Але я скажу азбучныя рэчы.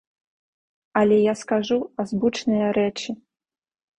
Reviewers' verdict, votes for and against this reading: rejected, 1, 2